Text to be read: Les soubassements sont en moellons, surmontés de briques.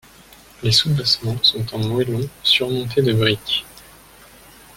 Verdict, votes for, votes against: rejected, 1, 2